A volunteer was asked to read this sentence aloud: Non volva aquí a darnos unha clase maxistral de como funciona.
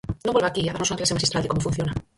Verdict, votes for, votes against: rejected, 0, 4